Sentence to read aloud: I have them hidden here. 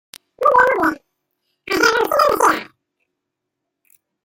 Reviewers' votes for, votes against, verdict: 0, 2, rejected